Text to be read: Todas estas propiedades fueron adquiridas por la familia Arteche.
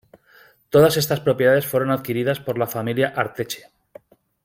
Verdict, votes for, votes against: accepted, 2, 0